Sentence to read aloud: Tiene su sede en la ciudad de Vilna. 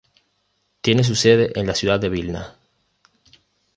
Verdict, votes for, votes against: accepted, 2, 0